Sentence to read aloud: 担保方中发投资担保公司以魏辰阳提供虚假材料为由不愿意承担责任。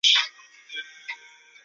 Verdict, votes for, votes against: rejected, 0, 2